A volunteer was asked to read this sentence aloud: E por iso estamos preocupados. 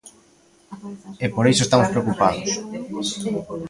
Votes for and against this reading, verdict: 1, 2, rejected